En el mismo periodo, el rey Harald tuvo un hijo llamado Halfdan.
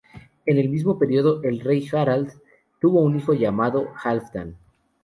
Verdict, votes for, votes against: accepted, 2, 0